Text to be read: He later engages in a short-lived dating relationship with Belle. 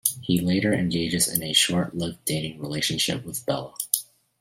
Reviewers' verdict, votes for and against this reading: accepted, 3, 1